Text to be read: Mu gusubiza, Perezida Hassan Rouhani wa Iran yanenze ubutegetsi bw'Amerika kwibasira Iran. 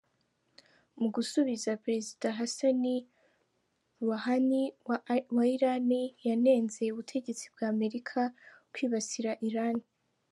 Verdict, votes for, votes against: rejected, 1, 2